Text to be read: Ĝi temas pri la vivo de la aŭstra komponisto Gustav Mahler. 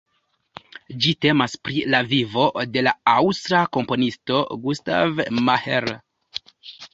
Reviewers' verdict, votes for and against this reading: rejected, 1, 2